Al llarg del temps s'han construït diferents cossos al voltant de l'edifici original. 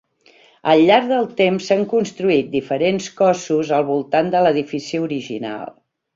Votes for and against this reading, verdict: 3, 0, accepted